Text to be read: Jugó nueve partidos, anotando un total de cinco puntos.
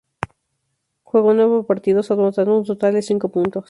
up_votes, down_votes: 0, 2